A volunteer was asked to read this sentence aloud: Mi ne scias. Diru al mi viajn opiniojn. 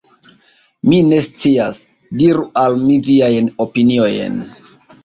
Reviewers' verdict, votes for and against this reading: accepted, 2, 1